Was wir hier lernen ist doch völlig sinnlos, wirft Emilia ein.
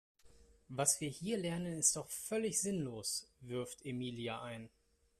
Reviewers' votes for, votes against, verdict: 2, 0, accepted